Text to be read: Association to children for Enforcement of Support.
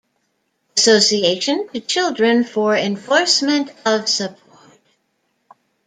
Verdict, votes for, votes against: rejected, 0, 2